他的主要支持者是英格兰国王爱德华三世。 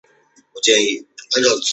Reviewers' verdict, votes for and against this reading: rejected, 1, 2